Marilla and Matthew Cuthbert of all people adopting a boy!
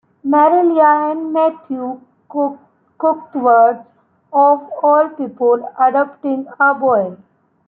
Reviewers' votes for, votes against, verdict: 0, 2, rejected